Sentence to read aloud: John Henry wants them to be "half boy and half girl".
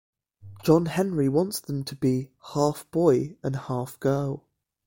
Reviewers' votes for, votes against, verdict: 2, 0, accepted